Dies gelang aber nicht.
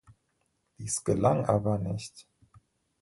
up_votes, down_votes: 2, 0